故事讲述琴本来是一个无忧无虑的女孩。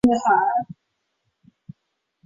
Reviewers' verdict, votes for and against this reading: rejected, 0, 2